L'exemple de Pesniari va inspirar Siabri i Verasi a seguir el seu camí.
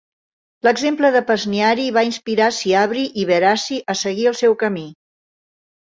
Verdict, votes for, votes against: accepted, 2, 0